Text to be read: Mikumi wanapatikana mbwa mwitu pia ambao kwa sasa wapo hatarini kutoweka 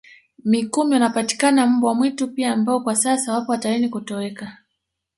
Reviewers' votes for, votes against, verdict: 2, 0, accepted